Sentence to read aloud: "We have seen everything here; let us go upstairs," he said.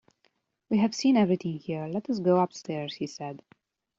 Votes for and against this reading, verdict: 2, 0, accepted